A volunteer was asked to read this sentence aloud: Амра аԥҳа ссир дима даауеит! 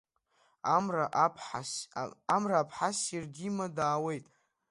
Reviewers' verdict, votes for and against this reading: accepted, 2, 0